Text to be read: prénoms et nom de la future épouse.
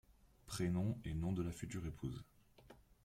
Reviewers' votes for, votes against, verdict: 0, 2, rejected